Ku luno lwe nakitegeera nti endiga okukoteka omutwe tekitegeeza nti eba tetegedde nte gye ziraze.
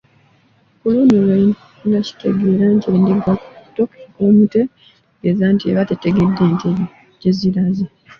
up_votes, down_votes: 0, 2